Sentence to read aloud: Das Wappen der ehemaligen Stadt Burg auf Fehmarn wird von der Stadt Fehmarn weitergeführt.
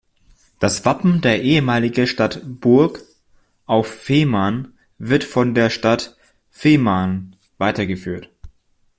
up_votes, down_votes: 1, 2